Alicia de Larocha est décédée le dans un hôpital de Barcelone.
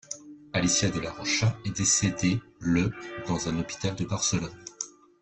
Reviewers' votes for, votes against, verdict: 0, 2, rejected